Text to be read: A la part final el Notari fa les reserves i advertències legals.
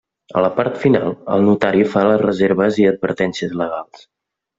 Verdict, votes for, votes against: accepted, 3, 0